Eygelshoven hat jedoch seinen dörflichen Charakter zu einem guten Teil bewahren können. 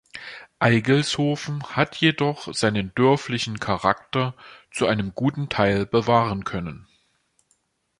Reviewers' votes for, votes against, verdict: 2, 0, accepted